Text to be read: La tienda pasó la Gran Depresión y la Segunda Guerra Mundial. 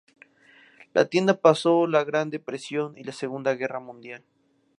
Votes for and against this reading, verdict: 2, 0, accepted